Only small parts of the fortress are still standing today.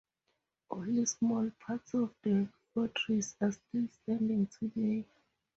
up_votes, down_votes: 4, 0